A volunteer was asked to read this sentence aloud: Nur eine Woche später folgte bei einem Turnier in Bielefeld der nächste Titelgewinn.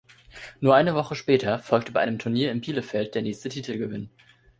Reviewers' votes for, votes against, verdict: 2, 0, accepted